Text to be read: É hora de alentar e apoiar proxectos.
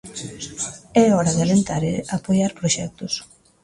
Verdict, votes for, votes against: accepted, 2, 0